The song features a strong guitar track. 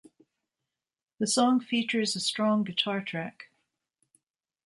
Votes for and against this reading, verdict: 2, 0, accepted